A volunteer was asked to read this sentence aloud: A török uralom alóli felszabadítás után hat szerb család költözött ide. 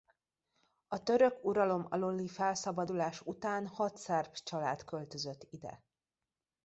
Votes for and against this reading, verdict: 1, 2, rejected